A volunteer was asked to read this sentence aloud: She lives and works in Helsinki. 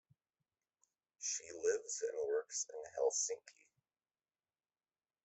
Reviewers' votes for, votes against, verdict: 1, 2, rejected